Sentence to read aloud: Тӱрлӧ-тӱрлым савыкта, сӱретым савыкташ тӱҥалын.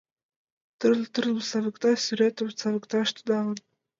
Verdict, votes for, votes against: accepted, 2, 1